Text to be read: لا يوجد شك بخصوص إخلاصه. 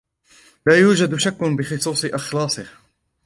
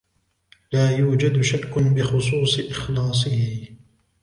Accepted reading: second